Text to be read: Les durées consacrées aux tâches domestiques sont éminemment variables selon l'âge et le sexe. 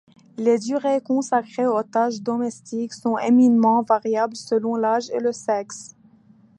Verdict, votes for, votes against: accepted, 2, 0